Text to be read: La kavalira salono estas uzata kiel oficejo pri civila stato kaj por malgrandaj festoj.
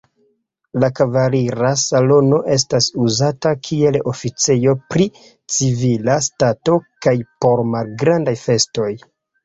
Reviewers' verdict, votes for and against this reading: rejected, 1, 2